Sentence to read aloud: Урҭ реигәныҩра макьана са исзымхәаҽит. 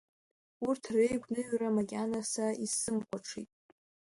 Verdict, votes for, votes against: rejected, 1, 2